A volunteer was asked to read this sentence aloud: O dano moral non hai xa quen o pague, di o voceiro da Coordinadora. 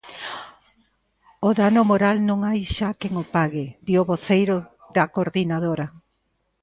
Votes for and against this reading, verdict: 2, 0, accepted